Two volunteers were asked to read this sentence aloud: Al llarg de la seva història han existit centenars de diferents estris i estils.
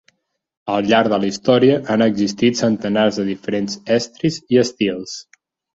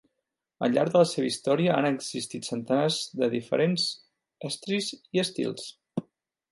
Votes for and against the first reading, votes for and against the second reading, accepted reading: 0, 4, 2, 0, second